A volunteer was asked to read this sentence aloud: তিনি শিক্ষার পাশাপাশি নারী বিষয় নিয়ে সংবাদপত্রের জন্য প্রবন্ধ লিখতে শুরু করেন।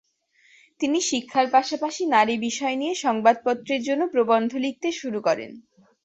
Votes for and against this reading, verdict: 2, 0, accepted